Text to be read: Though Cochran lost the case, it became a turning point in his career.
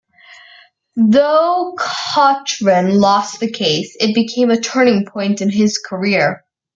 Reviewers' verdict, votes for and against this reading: rejected, 0, 2